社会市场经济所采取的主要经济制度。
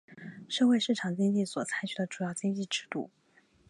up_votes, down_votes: 2, 0